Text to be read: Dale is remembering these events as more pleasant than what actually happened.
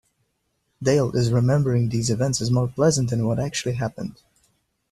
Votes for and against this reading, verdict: 2, 0, accepted